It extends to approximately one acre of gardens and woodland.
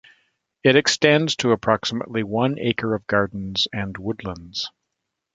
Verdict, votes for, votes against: rejected, 0, 3